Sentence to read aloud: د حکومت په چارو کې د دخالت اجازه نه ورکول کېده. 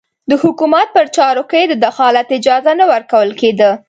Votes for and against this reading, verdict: 2, 0, accepted